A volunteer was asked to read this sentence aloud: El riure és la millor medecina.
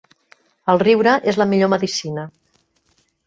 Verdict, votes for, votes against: rejected, 0, 2